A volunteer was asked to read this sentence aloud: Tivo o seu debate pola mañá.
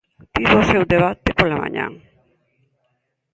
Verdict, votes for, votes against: rejected, 0, 2